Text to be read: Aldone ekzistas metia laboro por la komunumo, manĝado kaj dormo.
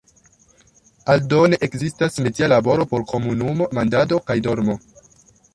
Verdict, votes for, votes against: rejected, 0, 2